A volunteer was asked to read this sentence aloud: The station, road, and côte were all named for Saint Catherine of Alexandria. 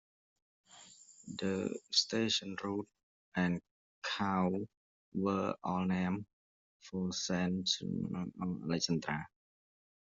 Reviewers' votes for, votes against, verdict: 0, 2, rejected